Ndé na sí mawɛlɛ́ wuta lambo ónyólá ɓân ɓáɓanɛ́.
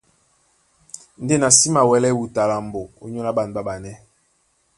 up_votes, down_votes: 2, 0